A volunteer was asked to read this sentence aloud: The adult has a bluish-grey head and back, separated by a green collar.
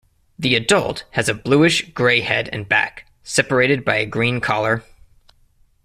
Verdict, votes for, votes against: accepted, 2, 0